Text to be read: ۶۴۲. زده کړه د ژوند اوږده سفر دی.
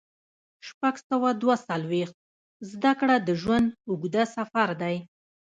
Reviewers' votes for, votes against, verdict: 0, 2, rejected